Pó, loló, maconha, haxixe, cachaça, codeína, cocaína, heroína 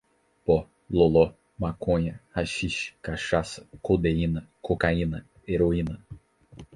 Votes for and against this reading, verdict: 4, 0, accepted